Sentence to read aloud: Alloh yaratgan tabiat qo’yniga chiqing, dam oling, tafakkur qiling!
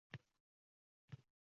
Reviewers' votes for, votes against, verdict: 0, 2, rejected